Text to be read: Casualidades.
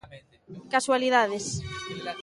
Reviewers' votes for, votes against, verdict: 2, 0, accepted